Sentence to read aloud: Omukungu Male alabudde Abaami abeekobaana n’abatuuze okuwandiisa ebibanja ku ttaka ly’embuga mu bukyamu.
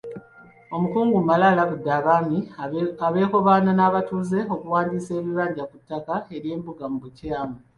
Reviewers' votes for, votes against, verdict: 2, 0, accepted